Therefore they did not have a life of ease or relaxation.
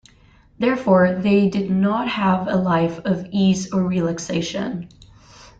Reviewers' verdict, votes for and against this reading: accepted, 2, 1